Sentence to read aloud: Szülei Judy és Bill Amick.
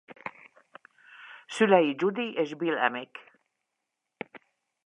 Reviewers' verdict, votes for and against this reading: accepted, 2, 0